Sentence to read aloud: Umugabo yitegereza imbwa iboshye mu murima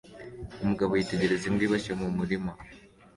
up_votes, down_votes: 2, 0